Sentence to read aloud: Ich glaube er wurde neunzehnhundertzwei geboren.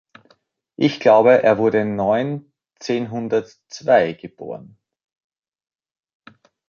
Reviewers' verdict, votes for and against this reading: accepted, 2, 0